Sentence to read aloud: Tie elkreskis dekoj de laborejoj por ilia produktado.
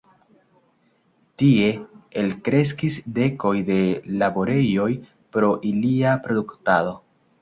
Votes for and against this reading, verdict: 1, 2, rejected